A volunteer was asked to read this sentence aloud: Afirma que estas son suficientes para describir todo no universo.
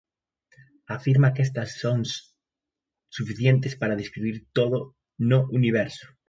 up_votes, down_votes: 0, 2